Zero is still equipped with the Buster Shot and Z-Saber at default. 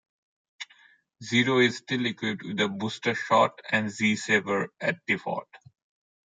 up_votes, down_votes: 1, 2